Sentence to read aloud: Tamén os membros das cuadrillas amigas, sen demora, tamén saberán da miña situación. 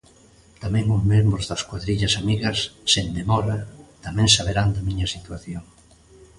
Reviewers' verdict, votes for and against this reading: accepted, 2, 0